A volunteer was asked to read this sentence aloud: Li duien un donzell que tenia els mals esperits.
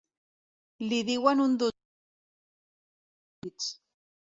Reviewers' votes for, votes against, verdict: 1, 2, rejected